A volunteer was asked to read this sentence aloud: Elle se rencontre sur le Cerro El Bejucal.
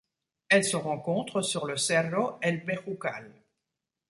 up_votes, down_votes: 2, 0